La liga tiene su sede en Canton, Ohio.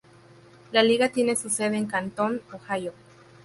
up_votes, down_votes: 0, 2